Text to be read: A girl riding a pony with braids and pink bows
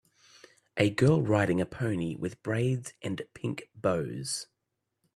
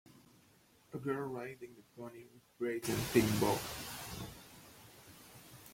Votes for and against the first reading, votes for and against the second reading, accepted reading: 3, 0, 1, 3, first